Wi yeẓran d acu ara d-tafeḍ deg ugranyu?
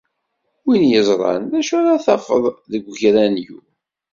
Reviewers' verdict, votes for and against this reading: accepted, 2, 0